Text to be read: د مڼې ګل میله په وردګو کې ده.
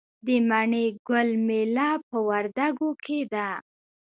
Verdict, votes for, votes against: accepted, 2, 0